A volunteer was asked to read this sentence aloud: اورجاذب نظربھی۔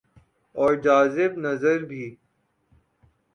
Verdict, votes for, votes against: accepted, 2, 0